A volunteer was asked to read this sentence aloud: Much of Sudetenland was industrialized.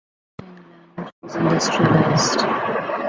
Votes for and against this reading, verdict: 0, 2, rejected